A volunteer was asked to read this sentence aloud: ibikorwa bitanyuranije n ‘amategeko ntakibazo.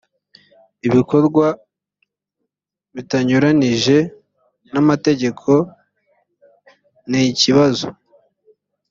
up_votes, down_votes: 1, 3